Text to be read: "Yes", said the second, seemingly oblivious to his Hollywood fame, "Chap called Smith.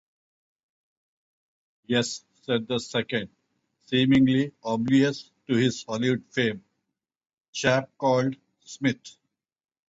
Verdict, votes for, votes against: accepted, 2, 0